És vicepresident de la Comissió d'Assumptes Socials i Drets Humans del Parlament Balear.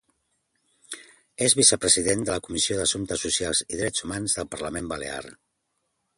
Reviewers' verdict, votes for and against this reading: accepted, 2, 0